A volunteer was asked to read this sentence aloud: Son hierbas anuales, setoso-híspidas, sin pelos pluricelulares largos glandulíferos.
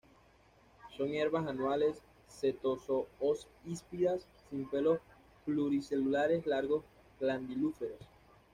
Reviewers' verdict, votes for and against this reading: rejected, 1, 2